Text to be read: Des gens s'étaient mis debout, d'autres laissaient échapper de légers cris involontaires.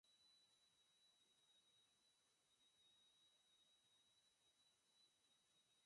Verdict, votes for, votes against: rejected, 0, 4